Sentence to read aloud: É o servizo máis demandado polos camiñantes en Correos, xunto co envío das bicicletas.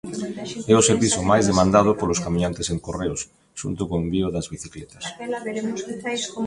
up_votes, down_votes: 0, 2